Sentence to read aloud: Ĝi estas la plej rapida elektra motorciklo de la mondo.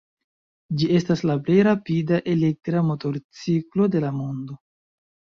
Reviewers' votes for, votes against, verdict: 2, 0, accepted